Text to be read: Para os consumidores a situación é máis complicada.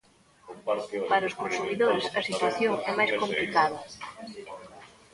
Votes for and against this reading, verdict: 0, 2, rejected